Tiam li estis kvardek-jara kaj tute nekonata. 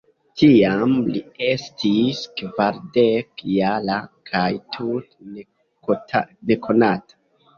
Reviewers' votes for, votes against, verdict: 2, 0, accepted